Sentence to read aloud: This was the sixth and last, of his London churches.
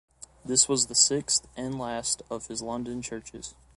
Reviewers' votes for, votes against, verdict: 2, 0, accepted